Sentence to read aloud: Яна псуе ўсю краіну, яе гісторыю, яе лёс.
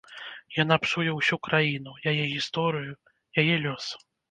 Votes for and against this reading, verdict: 1, 2, rejected